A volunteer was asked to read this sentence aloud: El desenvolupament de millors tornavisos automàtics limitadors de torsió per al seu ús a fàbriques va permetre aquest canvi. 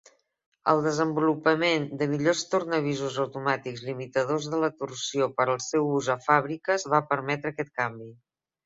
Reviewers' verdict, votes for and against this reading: rejected, 1, 2